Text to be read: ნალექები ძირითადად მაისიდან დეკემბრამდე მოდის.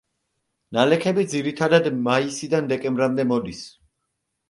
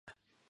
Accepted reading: first